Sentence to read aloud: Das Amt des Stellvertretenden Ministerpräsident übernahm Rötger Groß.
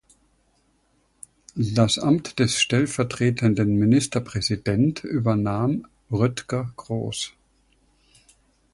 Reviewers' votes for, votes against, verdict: 2, 0, accepted